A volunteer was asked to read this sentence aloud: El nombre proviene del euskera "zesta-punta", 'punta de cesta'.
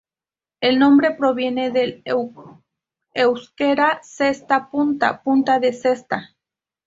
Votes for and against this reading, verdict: 2, 2, rejected